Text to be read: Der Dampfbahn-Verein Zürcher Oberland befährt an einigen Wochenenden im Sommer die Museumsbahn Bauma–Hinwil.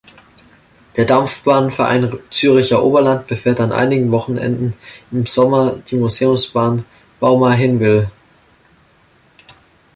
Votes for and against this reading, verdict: 0, 2, rejected